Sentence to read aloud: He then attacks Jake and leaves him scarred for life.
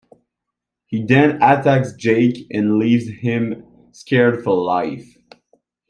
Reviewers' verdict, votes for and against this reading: accepted, 2, 1